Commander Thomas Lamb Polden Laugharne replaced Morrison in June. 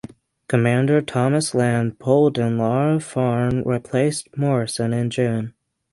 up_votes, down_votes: 3, 0